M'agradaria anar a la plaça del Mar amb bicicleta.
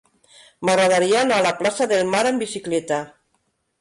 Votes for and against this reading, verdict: 3, 0, accepted